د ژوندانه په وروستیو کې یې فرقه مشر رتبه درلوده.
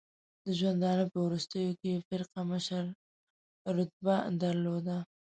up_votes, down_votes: 0, 2